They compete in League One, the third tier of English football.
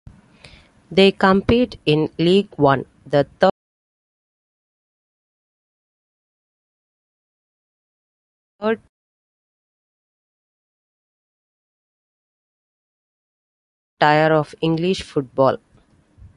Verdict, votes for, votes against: rejected, 0, 2